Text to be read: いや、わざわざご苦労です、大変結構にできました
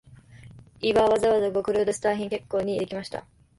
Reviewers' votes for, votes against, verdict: 0, 2, rejected